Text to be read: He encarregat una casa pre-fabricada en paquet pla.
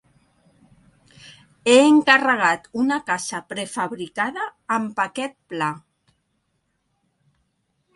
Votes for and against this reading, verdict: 1, 2, rejected